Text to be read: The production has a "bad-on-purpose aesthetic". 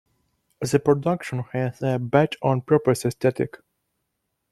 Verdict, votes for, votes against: accepted, 2, 0